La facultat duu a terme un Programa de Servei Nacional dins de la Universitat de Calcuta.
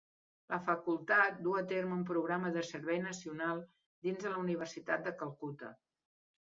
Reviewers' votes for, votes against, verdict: 2, 0, accepted